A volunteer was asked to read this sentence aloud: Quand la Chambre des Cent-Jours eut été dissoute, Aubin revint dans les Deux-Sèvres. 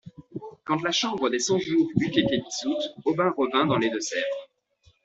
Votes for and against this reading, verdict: 2, 1, accepted